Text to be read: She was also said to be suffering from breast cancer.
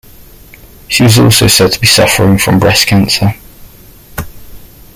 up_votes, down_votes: 0, 2